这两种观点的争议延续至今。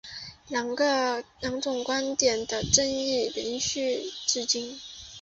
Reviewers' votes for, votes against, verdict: 0, 2, rejected